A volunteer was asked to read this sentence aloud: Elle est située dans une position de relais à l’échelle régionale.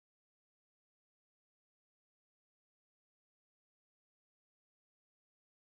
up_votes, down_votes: 1, 2